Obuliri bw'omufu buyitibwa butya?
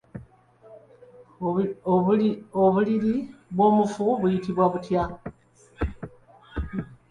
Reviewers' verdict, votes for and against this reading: rejected, 1, 2